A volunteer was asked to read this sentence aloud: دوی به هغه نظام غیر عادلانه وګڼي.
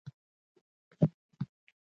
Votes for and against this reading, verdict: 1, 2, rejected